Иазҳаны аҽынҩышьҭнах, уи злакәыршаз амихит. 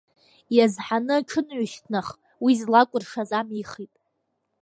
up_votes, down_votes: 2, 0